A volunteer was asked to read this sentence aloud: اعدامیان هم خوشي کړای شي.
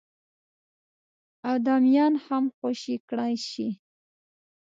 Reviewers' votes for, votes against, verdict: 2, 0, accepted